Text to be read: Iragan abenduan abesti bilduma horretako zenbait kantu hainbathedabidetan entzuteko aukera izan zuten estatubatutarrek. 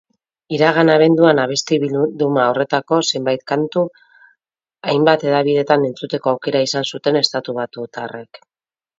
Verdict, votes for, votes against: rejected, 0, 2